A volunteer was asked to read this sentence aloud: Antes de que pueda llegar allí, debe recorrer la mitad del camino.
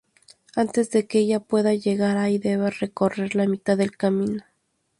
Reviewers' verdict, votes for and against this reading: rejected, 0, 2